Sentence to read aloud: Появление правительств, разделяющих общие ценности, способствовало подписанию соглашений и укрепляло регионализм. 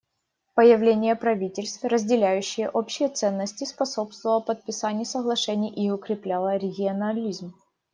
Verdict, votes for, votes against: rejected, 1, 2